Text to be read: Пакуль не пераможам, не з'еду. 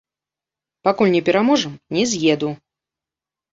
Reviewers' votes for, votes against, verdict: 2, 0, accepted